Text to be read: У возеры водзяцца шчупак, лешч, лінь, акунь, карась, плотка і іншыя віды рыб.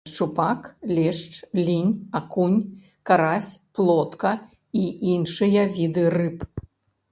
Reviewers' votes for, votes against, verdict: 1, 2, rejected